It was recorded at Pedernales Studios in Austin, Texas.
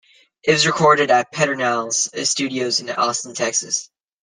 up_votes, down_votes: 2, 0